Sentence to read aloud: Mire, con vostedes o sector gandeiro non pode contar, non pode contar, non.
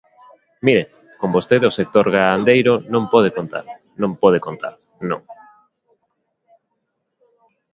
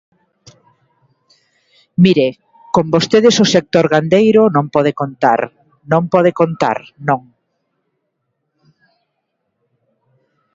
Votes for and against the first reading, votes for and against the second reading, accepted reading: 2, 3, 2, 0, second